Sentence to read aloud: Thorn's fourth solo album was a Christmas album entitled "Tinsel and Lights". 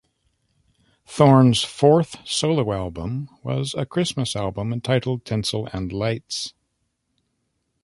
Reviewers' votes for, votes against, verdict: 2, 0, accepted